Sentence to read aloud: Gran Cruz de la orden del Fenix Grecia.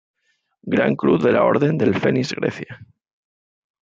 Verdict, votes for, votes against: accepted, 2, 0